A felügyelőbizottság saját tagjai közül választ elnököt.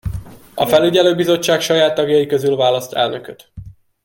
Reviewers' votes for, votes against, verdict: 2, 0, accepted